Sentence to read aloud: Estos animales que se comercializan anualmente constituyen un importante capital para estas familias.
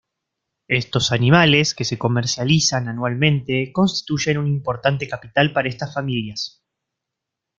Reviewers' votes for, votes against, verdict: 2, 0, accepted